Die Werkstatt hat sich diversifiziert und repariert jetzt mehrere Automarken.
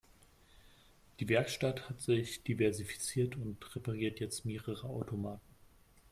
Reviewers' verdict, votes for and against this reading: accepted, 2, 0